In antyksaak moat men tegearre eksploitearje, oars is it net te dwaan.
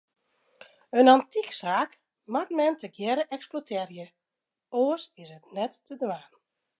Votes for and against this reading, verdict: 2, 0, accepted